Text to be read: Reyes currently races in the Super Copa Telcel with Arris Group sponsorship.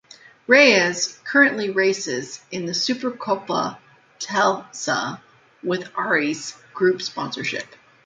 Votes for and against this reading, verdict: 2, 1, accepted